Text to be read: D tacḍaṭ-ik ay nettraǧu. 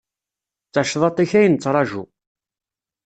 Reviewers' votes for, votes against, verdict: 2, 0, accepted